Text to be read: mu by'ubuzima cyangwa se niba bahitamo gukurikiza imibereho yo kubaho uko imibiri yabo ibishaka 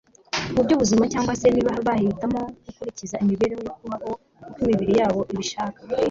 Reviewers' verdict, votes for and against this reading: accepted, 3, 0